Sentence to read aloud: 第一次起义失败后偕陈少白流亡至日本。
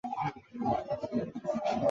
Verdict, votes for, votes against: rejected, 1, 2